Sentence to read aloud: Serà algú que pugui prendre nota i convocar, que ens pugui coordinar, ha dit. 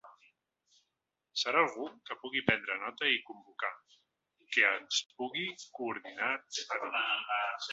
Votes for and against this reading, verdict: 0, 4, rejected